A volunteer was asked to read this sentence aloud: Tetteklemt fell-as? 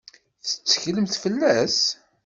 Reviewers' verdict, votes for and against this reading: accepted, 2, 0